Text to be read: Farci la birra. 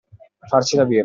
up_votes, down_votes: 2, 1